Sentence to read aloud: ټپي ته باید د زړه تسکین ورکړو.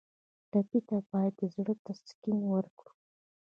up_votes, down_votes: 1, 2